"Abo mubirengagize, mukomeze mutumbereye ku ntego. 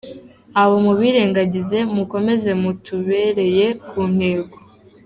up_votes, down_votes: 1, 2